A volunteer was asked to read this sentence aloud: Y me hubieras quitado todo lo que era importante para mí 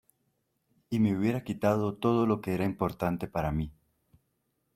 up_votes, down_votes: 2, 0